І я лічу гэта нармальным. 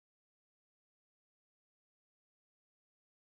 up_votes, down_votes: 0, 2